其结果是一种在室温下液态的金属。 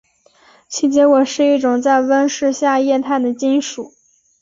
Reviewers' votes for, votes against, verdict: 1, 2, rejected